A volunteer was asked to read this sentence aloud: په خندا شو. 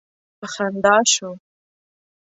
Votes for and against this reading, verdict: 2, 0, accepted